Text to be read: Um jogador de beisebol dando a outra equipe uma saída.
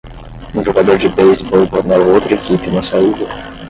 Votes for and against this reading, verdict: 0, 5, rejected